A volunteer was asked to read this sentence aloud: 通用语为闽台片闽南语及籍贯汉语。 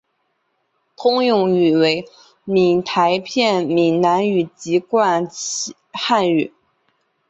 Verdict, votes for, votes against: accepted, 3, 1